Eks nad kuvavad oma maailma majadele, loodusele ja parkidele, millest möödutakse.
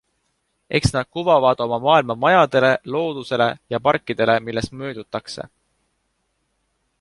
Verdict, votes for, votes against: accepted, 2, 0